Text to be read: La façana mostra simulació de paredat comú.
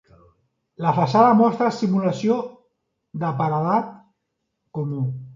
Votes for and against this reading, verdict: 2, 0, accepted